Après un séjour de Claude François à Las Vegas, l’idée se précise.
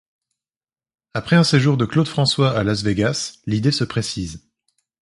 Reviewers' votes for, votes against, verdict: 2, 0, accepted